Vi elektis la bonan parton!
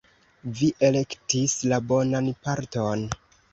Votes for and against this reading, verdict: 2, 0, accepted